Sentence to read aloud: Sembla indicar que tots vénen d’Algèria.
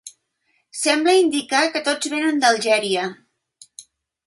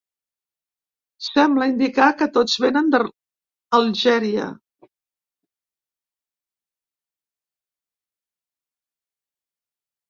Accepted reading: first